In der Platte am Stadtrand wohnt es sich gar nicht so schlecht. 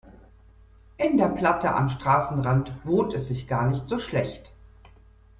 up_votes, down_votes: 0, 2